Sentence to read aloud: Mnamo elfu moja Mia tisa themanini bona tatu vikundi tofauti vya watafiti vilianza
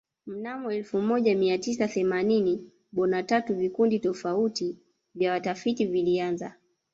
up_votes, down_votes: 1, 2